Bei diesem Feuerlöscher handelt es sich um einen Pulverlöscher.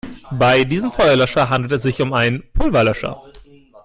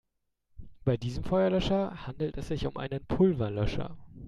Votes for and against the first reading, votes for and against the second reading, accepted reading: 1, 2, 2, 0, second